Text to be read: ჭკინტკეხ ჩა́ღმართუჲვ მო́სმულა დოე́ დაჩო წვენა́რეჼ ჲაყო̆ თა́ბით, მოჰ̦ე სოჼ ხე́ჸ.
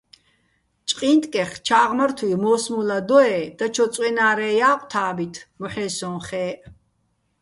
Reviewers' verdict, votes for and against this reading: accepted, 2, 1